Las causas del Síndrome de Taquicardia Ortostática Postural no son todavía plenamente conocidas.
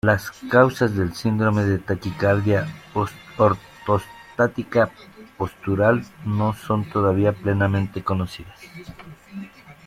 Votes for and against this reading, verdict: 0, 2, rejected